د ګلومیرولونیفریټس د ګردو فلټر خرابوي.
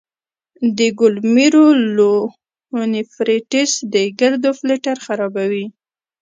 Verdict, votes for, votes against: rejected, 0, 2